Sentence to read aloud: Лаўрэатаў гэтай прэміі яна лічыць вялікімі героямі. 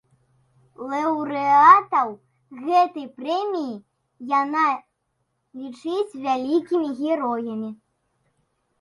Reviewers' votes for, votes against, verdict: 1, 2, rejected